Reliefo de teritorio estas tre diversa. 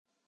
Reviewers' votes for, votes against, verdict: 0, 2, rejected